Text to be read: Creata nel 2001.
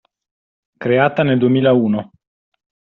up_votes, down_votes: 0, 2